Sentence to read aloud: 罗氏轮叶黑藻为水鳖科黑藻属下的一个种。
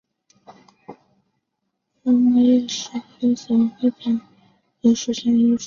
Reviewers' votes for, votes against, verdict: 2, 3, rejected